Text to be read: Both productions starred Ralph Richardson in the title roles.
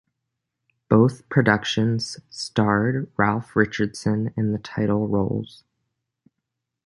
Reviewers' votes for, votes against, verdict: 1, 2, rejected